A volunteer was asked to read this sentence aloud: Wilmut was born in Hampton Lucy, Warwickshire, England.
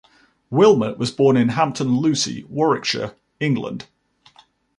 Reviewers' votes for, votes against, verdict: 1, 2, rejected